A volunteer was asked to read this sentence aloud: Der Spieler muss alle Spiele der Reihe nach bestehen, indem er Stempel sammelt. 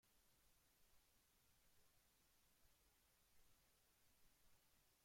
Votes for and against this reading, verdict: 0, 2, rejected